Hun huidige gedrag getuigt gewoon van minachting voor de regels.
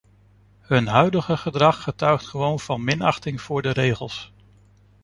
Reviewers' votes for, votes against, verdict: 2, 0, accepted